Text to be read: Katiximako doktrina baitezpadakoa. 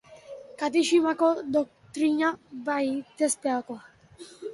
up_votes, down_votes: 0, 2